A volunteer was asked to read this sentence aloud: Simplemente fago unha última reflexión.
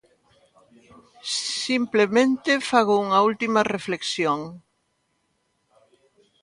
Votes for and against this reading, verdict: 2, 0, accepted